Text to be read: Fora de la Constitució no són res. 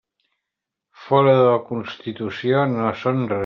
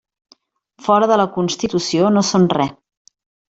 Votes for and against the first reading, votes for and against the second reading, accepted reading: 0, 2, 3, 1, second